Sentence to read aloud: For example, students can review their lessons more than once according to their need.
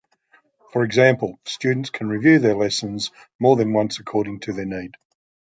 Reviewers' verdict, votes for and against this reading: accepted, 2, 0